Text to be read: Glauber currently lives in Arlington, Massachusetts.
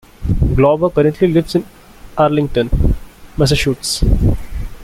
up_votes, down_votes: 1, 2